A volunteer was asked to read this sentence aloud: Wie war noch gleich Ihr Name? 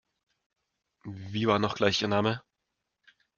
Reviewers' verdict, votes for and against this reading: accepted, 2, 0